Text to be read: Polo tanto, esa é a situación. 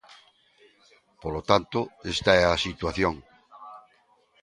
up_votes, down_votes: 0, 2